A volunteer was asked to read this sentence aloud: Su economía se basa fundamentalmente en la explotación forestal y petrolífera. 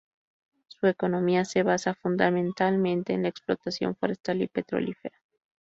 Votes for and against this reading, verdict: 2, 0, accepted